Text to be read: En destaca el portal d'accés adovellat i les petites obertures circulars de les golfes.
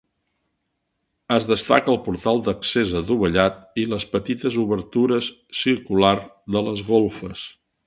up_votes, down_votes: 1, 2